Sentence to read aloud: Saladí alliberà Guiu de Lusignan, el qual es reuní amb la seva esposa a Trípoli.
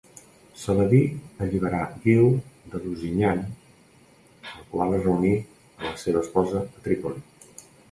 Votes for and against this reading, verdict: 2, 1, accepted